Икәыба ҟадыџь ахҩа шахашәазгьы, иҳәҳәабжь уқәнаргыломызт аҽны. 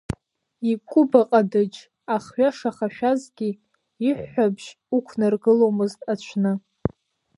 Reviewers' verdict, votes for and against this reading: rejected, 0, 2